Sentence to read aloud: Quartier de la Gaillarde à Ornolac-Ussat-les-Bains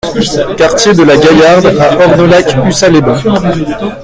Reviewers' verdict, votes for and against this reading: rejected, 0, 2